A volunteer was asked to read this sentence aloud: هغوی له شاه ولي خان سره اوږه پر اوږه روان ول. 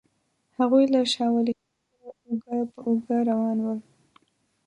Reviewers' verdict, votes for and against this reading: rejected, 0, 2